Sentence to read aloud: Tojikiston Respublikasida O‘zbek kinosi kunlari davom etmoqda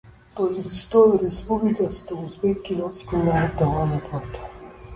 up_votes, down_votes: 0, 2